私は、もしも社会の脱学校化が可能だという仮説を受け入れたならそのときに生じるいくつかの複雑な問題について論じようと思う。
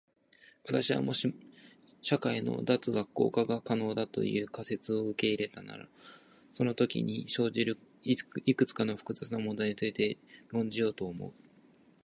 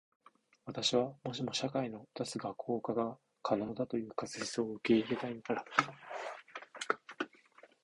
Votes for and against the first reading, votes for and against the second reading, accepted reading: 1, 2, 2, 0, second